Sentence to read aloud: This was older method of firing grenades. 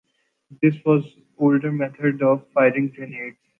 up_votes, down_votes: 2, 1